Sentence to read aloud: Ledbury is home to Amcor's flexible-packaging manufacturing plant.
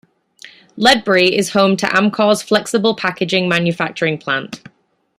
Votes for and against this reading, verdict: 2, 0, accepted